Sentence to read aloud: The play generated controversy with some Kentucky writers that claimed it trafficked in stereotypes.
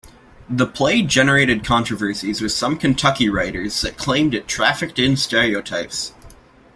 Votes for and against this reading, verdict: 2, 0, accepted